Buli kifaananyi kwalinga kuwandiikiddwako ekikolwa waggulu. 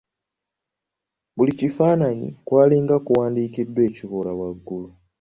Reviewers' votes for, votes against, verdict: 1, 2, rejected